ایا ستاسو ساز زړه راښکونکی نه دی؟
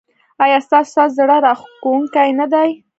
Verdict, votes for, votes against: accepted, 2, 1